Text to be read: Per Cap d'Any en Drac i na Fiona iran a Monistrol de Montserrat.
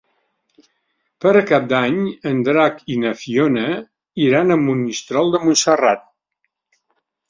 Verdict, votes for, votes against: accepted, 2, 0